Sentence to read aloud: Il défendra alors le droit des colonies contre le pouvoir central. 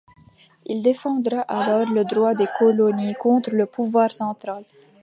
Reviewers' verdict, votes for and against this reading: rejected, 1, 2